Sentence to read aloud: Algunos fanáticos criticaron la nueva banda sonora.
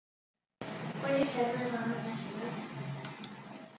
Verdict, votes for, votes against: rejected, 0, 2